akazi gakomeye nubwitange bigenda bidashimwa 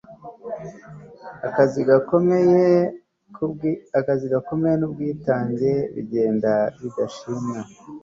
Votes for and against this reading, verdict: 2, 1, accepted